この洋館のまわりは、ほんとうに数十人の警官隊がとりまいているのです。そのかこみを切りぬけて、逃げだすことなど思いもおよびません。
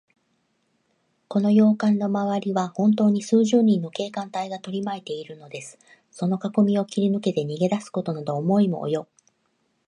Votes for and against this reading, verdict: 1, 2, rejected